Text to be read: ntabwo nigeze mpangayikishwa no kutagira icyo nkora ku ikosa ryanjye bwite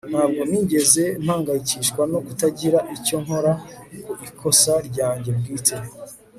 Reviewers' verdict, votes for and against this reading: accepted, 3, 0